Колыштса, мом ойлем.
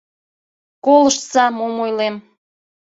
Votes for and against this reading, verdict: 2, 0, accepted